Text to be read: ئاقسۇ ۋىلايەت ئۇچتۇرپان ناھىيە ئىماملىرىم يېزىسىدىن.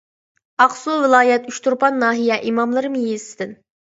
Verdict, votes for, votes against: accepted, 2, 0